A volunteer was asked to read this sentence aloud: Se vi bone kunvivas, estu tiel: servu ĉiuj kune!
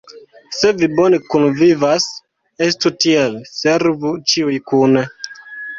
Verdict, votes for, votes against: accepted, 2, 1